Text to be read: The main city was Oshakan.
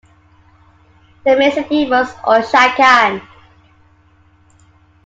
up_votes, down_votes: 2, 1